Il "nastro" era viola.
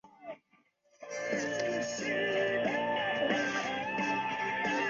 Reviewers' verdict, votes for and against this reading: rejected, 0, 2